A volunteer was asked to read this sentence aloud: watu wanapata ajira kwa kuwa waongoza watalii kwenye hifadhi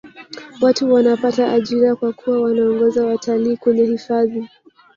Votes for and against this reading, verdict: 1, 3, rejected